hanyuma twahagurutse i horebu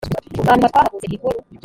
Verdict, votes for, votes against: rejected, 2, 3